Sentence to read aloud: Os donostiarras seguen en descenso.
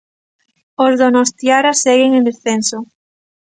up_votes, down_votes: 1, 2